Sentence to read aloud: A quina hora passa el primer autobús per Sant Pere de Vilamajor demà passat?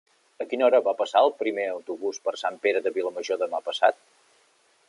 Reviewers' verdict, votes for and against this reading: rejected, 0, 2